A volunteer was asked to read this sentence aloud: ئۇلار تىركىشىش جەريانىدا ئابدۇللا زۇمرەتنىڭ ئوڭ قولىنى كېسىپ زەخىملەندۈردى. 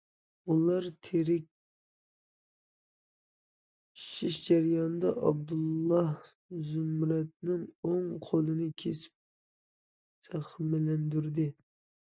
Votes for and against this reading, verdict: 1, 2, rejected